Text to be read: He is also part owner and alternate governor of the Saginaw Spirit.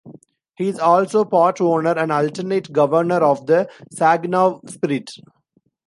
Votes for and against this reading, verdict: 2, 0, accepted